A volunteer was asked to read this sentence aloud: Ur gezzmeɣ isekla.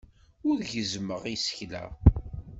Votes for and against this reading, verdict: 1, 2, rejected